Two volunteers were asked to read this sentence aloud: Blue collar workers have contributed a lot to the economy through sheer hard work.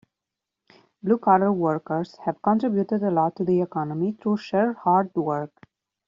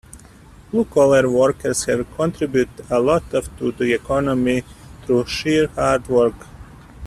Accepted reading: first